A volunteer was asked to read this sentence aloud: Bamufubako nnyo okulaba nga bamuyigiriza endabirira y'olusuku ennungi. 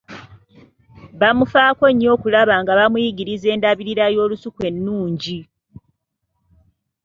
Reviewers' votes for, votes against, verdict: 1, 2, rejected